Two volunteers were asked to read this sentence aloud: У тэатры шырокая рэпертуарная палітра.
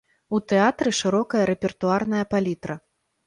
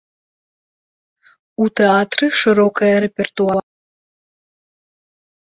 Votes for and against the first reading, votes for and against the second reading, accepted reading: 2, 0, 0, 2, first